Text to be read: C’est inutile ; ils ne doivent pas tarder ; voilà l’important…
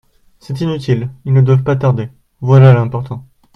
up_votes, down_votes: 2, 0